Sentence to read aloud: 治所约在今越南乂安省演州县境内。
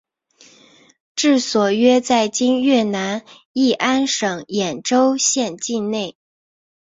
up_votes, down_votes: 3, 1